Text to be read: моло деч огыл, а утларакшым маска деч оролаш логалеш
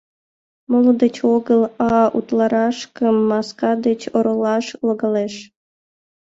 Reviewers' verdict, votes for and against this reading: rejected, 1, 2